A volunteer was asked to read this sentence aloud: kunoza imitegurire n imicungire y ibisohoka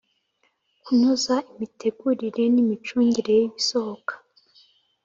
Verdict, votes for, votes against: accepted, 3, 0